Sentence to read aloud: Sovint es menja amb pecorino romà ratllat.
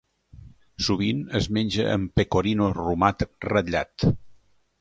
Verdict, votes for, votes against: rejected, 1, 2